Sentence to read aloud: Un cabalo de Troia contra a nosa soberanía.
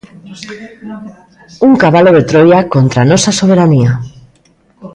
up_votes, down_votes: 1, 2